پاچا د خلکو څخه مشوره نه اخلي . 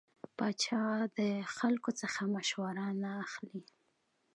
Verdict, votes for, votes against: accepted, 2, 0